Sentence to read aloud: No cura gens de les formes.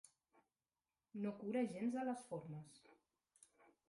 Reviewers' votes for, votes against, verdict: 2, 0, accepted